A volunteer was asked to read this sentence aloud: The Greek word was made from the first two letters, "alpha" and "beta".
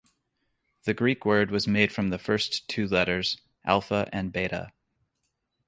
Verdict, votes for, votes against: accepted, 2, 0